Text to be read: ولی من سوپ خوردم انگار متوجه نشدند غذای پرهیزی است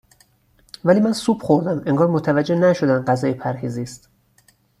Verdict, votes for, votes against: rejected, 2, 2